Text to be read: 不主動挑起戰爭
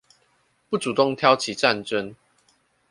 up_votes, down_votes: 2, 0